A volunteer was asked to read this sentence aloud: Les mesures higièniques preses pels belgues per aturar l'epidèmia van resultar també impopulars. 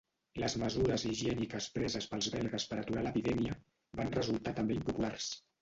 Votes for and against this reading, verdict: 0, 2, rejected